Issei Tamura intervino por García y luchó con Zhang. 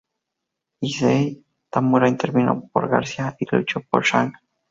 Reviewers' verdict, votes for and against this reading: rejected, 0, 2